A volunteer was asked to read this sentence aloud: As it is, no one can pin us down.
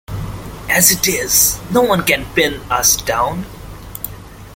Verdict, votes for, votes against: accepted, 2, 0